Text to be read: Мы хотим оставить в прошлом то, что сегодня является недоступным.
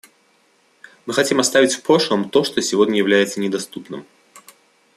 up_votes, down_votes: 2, 0